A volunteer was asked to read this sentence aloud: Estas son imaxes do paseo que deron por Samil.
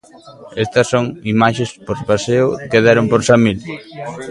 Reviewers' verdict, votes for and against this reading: rejected, 0, 2